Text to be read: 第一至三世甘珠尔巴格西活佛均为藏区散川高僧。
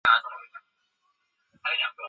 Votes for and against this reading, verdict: 0, 2, rejected